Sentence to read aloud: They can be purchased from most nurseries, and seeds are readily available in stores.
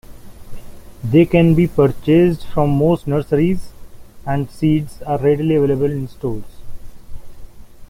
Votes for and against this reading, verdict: 2, 1, accepted